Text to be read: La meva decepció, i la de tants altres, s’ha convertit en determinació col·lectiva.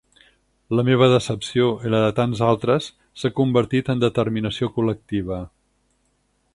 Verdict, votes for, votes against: accepted, 8, 0